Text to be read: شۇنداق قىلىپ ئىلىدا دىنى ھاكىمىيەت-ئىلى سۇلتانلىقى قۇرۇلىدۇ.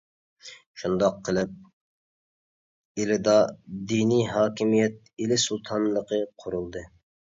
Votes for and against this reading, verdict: 0, 2, rejected